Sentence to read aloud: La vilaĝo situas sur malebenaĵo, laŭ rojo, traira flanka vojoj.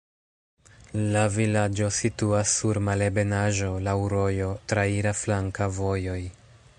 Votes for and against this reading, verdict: 1, 2, rejected